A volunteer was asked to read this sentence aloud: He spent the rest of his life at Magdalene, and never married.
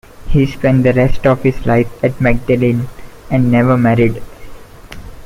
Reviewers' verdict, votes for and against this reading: accepted, 2, 1